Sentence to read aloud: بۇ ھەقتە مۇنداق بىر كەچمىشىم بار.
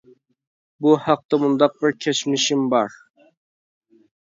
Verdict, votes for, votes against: accepted, 2, 0